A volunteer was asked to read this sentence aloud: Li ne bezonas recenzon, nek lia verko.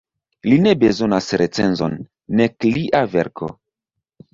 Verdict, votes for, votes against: accepted, 2, 0